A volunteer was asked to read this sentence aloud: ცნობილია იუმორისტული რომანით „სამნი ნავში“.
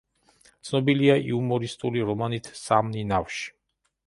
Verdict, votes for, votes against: accepted, 2, 0